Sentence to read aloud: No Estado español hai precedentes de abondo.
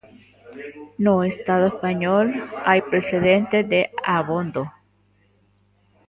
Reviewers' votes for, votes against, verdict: 0, 2, rejected